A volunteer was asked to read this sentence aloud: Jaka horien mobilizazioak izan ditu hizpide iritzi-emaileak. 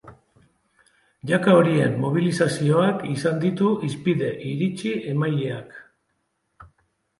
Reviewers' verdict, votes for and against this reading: rejected, 1, 2